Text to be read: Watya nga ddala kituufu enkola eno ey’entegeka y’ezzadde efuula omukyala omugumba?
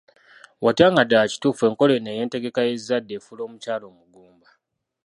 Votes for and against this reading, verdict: 2, 0, accepted